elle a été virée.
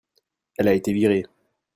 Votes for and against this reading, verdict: 2, 0, accepted